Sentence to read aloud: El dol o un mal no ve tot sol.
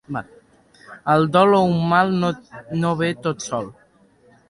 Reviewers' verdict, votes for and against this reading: rejected, 0, 2